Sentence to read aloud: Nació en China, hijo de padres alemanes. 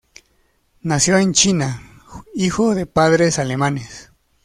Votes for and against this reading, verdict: 2, 0, accepted